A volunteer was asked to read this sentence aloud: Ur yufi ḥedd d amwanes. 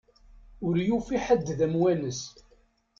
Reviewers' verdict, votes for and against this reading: accepted, 2, 0